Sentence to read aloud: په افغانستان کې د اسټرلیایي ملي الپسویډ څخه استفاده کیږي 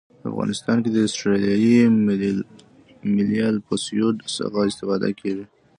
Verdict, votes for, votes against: accepted, 2, 1